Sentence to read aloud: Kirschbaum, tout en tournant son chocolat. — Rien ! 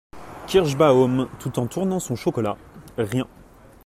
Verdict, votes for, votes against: accepted, 2, 0